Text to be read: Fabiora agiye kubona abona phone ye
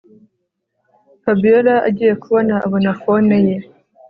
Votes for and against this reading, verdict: 2, 0, accepted